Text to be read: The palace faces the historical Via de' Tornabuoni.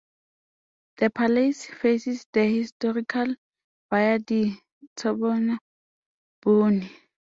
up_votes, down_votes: 0, 2